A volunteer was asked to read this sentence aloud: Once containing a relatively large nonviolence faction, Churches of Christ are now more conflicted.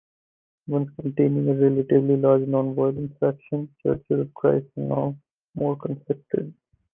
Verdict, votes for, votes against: rejected, 0, 4